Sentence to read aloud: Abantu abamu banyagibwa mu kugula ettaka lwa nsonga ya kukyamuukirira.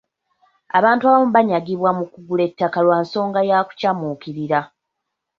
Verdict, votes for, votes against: accepted, 2, 1